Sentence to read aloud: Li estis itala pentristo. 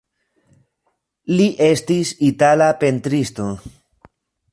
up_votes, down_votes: 2, 1